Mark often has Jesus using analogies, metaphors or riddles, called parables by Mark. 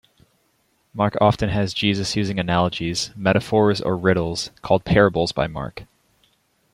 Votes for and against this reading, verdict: 2, 0, accepted